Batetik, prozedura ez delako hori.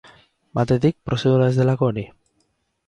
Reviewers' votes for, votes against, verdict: 6, 0, accepted